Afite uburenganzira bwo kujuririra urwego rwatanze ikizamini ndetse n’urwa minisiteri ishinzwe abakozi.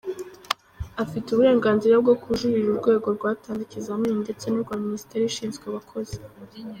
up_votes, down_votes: 2, 0